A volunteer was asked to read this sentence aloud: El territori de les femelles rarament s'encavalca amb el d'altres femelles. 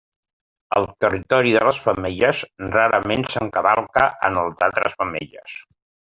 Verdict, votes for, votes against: accepted, 2, 0